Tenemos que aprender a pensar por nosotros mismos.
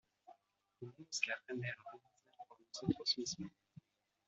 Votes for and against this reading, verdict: 1, 2, rejected